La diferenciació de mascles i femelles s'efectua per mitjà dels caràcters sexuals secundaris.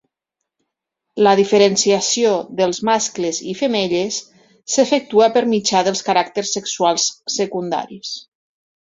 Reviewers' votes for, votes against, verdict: 1, 2, rejected